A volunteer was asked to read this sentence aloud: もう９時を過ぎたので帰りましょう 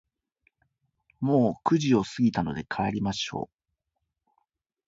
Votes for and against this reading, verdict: 0, 2, rejected